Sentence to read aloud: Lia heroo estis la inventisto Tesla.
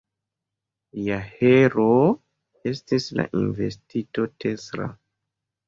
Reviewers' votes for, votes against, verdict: 0, 2, rejected